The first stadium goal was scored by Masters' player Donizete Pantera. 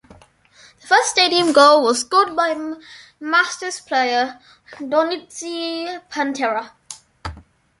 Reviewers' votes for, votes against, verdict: 1, 2, rejected